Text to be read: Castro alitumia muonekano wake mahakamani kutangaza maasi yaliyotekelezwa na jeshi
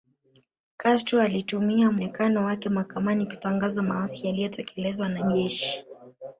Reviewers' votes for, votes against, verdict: 0, 2, rejected